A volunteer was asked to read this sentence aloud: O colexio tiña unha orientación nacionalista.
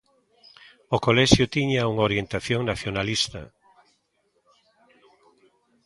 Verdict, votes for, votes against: rejected, 1, 2